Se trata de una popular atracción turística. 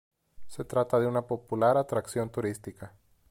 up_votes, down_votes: 2, 0